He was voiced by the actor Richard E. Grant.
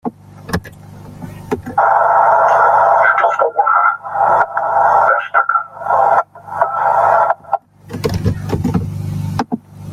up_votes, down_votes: 0, 2